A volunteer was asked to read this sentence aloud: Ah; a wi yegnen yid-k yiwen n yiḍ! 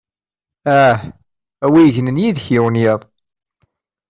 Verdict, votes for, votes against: accepted, 2, 0